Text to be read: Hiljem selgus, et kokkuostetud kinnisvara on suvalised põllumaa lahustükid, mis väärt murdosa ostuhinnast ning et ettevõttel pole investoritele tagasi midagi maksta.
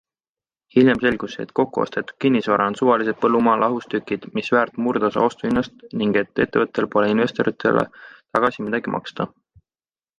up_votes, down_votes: 2, 0